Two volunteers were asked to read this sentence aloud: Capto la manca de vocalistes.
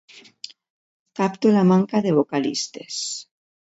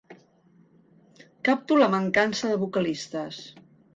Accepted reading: first